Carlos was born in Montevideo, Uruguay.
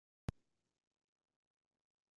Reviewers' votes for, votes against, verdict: 0, 2, rejected